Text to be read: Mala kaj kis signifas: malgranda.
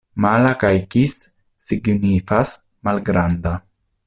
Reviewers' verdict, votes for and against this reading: accepted, 2, 1